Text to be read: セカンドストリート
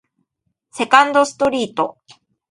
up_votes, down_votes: 2, 0